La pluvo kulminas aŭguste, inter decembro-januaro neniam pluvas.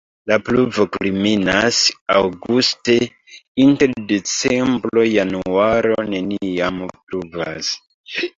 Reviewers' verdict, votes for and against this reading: rejected, 0, 3